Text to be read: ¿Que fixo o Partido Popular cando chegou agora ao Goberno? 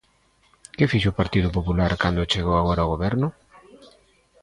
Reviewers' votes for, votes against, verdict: 1, 2, rejected